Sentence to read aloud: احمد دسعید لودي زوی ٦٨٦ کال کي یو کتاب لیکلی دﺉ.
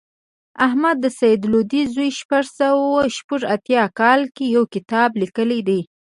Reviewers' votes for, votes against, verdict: 0, 2, rejected